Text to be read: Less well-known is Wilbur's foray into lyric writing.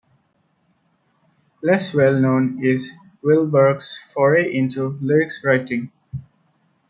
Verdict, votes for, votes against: accepted, 2, 1